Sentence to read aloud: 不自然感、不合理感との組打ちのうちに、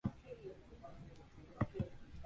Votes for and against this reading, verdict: 0, 2, rejected